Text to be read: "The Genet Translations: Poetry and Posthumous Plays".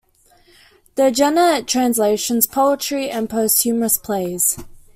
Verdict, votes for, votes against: rejected, 1, 2